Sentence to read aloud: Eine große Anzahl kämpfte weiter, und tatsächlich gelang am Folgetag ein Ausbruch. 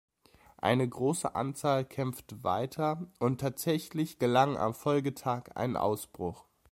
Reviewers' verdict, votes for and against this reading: rejected, 1, 2